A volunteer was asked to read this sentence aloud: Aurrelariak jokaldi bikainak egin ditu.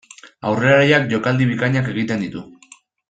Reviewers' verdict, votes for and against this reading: rejected, 1, 2